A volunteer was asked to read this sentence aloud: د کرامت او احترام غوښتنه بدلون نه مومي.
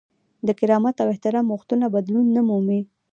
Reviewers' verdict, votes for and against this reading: accepted, 2, 0